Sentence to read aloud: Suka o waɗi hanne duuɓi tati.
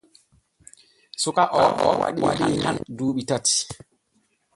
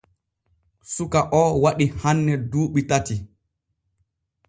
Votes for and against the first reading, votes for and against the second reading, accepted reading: 1, 2, 2, 0, second